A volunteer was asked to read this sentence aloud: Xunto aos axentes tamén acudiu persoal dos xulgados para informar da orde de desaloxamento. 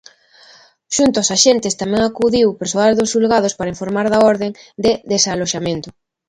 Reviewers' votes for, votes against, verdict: 2, 1, accepted